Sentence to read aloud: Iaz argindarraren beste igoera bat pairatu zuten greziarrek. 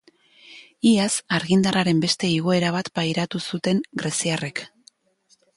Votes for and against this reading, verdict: 3, 0, accepted